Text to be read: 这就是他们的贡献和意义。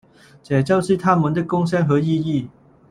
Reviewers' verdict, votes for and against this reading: rejected, 0, 2